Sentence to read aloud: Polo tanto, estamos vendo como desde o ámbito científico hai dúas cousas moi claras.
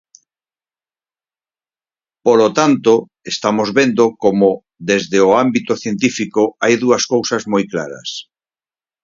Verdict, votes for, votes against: accepted, 4, 0